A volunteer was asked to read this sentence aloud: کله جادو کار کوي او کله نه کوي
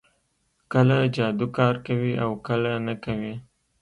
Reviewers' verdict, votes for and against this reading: accepted, 2, 0